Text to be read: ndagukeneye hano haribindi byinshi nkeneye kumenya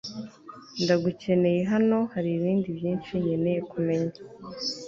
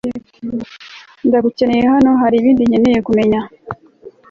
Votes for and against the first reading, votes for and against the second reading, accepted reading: 2, 0, 1, 2, first